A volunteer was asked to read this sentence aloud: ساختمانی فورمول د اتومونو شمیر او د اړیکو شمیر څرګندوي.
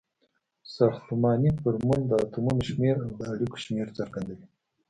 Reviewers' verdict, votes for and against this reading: accepted, 2, 0